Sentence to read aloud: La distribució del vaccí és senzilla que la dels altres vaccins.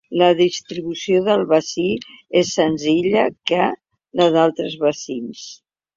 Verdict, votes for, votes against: rejected, 1, 2